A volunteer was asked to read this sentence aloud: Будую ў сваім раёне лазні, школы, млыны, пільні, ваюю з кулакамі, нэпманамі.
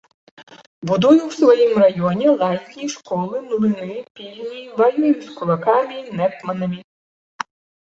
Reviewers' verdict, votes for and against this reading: rejected, 1, 2